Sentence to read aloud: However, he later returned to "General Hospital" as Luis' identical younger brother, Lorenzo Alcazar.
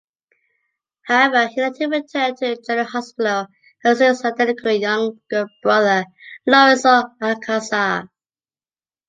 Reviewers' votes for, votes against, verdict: 2, 0, accepted